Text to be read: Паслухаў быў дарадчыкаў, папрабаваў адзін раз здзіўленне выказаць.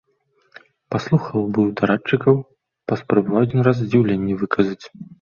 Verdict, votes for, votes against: rejected, 0, 2